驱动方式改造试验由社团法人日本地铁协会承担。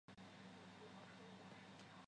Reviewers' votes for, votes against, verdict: 0, 2, rejected